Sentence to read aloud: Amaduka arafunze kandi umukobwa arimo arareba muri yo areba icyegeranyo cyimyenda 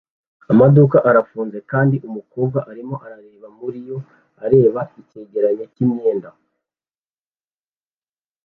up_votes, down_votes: 2, 0